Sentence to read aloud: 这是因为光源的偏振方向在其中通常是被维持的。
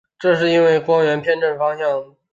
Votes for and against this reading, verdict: 1, 2, rejected